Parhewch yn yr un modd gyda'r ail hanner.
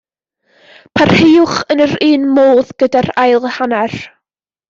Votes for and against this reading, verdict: 1, 2, rejected